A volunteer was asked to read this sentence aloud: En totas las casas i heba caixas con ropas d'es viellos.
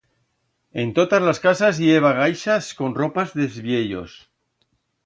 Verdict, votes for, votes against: rejected, 1, 2